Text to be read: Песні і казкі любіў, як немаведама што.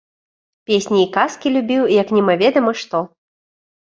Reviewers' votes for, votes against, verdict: 2, 0, accepted